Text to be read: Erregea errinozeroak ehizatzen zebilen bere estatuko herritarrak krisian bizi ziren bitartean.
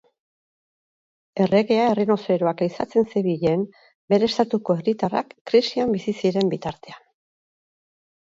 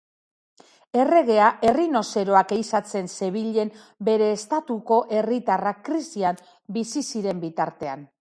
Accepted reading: second